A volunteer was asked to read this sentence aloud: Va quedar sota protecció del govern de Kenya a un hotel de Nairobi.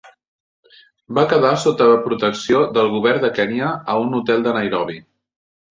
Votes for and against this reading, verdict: 1, 2, rejected